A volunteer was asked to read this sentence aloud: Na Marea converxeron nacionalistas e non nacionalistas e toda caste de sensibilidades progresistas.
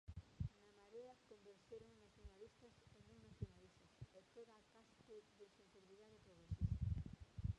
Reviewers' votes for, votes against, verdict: 0, 2, rejected